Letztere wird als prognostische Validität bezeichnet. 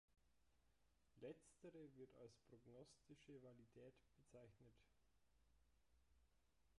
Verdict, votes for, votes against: rejected, 0, 2